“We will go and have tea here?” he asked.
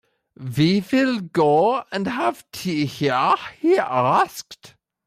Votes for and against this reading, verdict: 0, 2, rejected